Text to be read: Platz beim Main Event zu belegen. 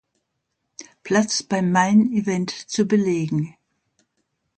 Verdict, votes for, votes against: rejected, 1, 2